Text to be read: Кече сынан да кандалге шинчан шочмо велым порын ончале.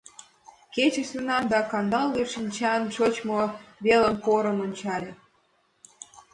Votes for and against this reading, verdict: 0, 4, rejected